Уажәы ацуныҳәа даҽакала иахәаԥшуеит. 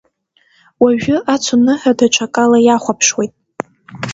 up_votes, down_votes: 2, 0